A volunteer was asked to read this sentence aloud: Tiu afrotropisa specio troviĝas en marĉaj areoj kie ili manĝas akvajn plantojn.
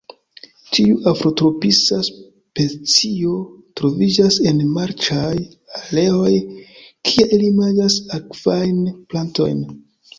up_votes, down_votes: 2, 0